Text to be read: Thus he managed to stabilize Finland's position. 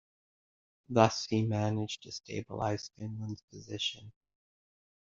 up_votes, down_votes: 1, 2